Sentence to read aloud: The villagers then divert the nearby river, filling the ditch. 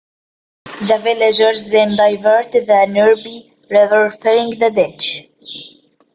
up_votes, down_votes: 1, 3